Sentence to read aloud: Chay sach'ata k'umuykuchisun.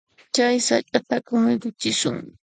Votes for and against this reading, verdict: 1, 2, rejected